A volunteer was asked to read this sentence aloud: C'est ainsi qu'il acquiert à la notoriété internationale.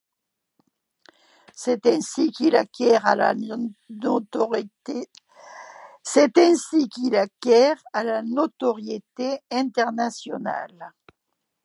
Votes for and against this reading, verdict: 1, 2, rejected